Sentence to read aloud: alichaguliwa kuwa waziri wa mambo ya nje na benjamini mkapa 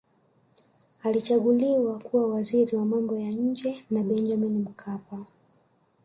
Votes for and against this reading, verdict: 2, 0, accepted